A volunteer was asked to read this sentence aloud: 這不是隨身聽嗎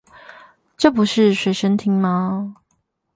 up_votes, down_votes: 4, 4